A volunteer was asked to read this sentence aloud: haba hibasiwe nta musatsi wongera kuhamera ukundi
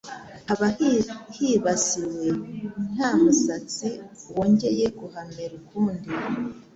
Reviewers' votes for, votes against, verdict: 1, 2, rejected